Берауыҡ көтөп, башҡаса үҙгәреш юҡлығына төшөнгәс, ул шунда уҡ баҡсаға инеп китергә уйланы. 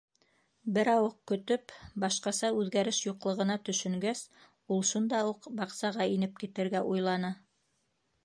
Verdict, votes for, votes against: rejected, 0, 2